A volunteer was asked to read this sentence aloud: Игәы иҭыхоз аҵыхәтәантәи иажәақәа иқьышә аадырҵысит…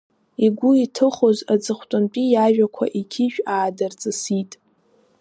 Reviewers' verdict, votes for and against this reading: accepted, 2, 0